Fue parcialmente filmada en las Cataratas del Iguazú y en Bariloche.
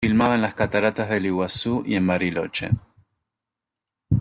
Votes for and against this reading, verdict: 0, 2, rejected